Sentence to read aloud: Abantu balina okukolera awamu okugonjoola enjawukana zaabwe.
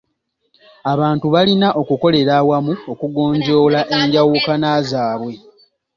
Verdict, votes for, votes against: accepted, 2, 0